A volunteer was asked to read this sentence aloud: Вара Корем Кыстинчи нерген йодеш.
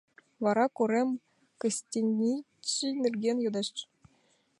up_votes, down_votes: 0, 2